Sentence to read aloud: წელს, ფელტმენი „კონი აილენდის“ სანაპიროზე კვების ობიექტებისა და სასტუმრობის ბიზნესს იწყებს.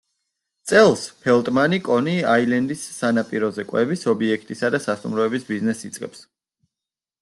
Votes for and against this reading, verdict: 0, 2, rejected